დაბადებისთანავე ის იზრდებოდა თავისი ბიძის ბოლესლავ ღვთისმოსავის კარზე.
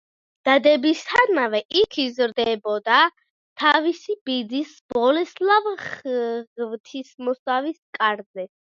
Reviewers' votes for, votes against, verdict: 0, 2, rejected